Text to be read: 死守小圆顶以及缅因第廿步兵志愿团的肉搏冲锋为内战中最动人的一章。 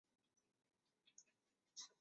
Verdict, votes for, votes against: rejected, 0, 2